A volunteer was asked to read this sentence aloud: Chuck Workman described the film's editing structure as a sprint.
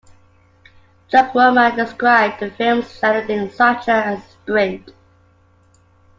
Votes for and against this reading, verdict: 2, 1, accepted